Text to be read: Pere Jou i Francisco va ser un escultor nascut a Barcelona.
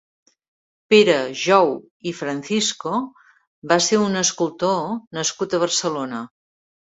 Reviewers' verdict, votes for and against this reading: rejected, 1, 2